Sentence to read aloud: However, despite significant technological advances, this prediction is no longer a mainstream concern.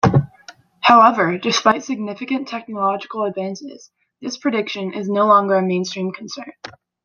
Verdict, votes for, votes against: accepted, 2, 0